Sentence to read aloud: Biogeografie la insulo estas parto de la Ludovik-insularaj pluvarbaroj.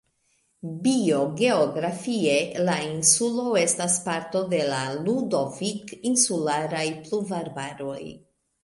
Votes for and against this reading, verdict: 1, 2, rejected